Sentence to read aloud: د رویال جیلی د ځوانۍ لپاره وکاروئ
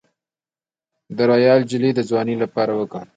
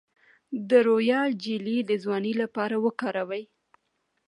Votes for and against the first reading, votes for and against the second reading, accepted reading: 2, 1, 1, 2, first